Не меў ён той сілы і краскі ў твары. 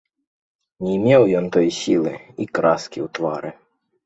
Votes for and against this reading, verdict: 2, 0, accepted